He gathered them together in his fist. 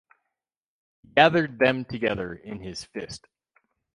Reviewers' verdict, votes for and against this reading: rejected, 2, 2